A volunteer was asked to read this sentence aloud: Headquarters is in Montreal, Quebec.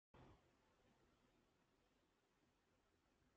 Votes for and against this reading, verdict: 0, 2, rejected